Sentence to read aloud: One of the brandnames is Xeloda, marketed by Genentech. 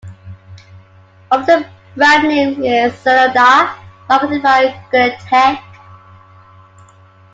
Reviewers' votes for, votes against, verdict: 2, 1, accepted